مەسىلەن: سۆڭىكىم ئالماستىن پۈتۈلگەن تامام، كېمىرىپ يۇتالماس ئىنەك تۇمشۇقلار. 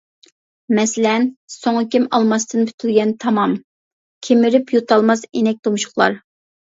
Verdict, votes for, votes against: accepted, 2, 0